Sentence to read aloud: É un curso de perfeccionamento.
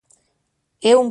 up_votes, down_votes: 0, 2